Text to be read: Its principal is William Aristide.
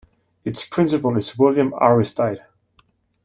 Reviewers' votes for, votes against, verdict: 2, 0, accepted